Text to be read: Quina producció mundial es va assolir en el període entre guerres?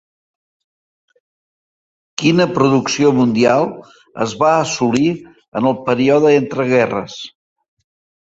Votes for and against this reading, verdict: 2, 0, accepted